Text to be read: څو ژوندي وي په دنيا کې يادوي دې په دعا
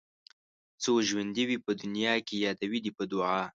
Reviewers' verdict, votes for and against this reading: accepted, 2, 0